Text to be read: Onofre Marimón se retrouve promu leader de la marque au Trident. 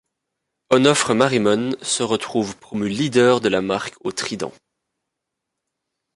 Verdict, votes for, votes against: accepted, 2, 0